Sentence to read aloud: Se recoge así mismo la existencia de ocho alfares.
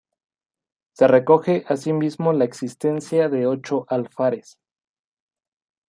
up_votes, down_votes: 2, 0